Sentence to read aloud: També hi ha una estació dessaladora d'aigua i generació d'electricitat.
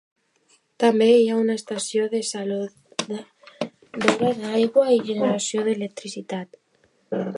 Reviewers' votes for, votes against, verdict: 0, 2, rejected